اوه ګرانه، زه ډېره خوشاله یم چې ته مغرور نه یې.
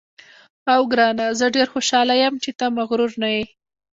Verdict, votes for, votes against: rejected, 1, 2